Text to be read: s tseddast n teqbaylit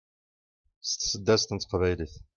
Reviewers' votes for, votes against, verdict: 2, 0, accepted